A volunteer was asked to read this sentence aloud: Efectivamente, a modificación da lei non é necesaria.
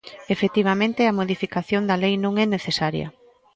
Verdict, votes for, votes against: accepted, 2, 0